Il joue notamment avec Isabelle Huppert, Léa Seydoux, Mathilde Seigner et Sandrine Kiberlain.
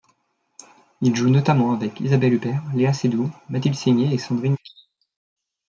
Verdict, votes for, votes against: rejected, 1, 2